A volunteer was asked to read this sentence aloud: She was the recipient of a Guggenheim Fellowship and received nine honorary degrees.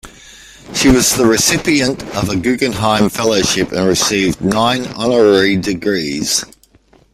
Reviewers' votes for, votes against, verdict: 1, 2, rejected